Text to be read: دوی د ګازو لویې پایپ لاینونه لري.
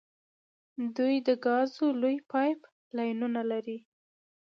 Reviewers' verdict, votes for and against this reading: accepted, 2, 0